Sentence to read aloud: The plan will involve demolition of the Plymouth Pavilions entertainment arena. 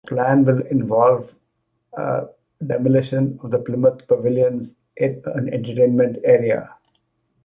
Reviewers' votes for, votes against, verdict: 0, 2, rejected